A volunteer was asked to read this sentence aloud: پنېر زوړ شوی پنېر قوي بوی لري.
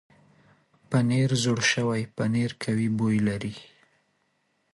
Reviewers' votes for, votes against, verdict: 2, 0, accepted